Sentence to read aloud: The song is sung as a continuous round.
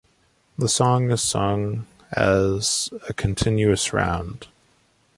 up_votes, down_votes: 2, 0